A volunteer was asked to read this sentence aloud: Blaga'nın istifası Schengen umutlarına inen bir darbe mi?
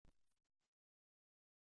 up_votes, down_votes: 0, 2